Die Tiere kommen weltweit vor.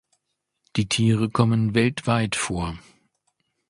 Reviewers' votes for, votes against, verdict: 2, 0, accepted